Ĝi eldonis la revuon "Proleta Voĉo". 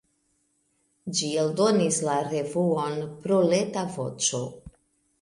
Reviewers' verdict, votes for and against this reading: accepted, 2, 1